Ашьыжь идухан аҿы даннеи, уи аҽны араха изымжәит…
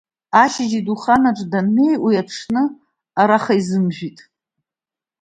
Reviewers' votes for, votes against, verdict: 2, 0, accepted